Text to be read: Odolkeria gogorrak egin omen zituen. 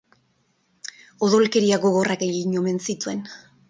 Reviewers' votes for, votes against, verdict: 4, 0, accepted